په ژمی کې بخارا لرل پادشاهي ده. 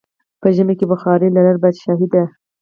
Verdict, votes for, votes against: accepted, 4, 0